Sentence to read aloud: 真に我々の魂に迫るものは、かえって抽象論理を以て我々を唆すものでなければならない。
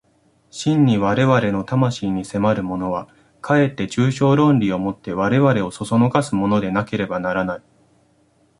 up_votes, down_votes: 2, 0